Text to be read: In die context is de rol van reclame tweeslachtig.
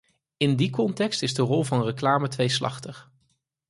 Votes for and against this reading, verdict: 4, 0, accepted